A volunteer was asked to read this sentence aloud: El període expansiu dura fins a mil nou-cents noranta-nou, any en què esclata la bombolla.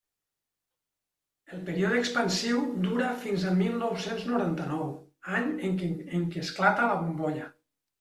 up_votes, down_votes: 0, 2